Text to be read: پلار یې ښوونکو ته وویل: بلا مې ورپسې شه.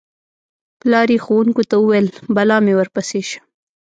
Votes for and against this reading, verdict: 2, 0, accepted